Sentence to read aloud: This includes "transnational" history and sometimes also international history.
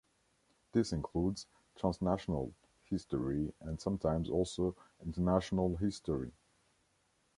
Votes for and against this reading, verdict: 2, 0, accepted